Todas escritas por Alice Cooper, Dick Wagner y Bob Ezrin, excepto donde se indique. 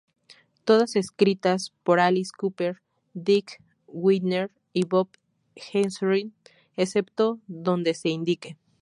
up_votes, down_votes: 0, 4